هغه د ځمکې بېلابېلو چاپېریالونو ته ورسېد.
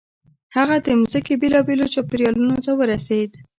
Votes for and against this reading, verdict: 0, 2, rejected